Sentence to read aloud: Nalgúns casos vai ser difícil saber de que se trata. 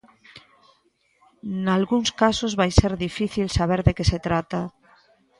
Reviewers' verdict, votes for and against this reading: accepted, 2, 0